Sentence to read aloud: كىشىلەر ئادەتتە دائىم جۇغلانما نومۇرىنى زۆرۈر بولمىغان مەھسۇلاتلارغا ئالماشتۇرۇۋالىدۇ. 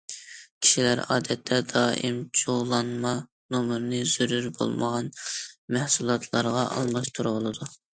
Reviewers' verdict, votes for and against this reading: accepted, 2, 0